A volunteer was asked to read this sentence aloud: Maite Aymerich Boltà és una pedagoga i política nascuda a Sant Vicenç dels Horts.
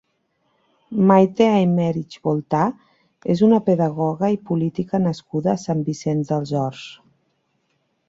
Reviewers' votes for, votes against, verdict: 1, 3, rejected